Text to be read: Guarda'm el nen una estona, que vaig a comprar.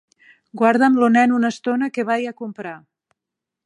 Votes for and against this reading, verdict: 0, 2, rejected